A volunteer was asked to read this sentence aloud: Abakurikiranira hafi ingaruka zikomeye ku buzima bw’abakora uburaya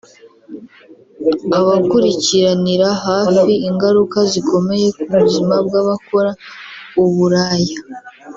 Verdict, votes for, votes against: accepted, 3, 0